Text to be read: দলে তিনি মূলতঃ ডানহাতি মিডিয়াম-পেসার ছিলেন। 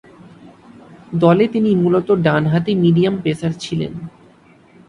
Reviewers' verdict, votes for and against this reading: accepted, 2, 0